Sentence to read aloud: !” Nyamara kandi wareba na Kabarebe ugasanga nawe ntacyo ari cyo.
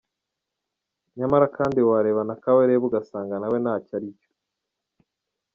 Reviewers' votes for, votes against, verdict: 2, 0, accepted